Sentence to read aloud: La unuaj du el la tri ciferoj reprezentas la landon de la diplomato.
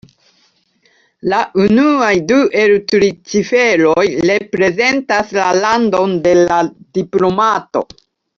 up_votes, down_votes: 1, 2